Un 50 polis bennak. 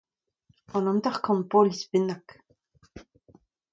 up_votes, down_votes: 0, 2